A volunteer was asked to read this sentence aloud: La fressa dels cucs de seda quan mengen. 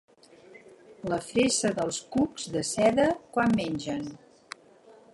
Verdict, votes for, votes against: rejected, 0, 4